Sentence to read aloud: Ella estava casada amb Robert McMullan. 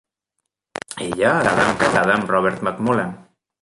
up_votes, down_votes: 0, 2